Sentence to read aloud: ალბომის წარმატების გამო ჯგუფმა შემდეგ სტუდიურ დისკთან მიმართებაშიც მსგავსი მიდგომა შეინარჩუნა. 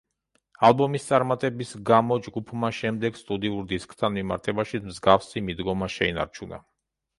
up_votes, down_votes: 2, 1